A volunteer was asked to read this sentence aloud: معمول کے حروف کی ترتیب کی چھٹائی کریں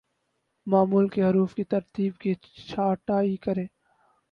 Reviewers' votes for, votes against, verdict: 0, 4, rejected